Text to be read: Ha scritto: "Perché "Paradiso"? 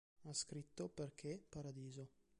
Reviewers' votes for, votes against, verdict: 0, 2, rejected